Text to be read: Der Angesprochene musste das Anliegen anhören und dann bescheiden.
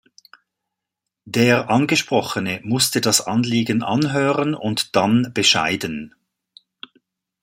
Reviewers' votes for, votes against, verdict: 2, 0, accepted